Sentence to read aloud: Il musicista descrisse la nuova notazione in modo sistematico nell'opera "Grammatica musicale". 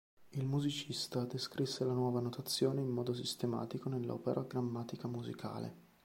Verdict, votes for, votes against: accepted, 2, 1